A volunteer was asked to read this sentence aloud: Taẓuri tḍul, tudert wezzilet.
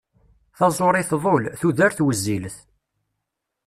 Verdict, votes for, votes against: accepted, 2, 0